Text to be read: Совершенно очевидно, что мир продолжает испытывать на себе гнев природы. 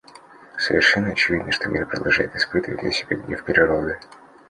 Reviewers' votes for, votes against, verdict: 2, 0, accepted